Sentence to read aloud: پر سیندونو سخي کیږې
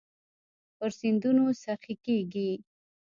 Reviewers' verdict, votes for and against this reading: rejected, 1, 2